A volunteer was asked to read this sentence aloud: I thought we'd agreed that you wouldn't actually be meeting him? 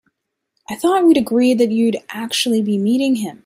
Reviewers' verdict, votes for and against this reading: accepted, 2, 1